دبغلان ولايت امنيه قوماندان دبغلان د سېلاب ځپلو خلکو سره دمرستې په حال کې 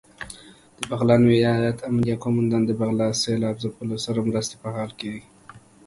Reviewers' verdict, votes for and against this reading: accepted, 2, 0